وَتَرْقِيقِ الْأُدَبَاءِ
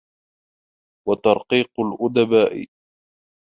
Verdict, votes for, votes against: rejected, 1, 2